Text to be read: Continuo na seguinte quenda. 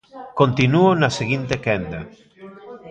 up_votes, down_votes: 0, 2